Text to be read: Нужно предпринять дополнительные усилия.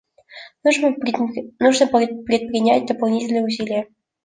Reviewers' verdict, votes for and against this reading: rejected, 1, 2